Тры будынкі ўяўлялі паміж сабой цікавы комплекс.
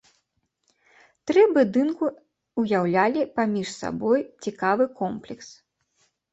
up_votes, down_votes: 0, 2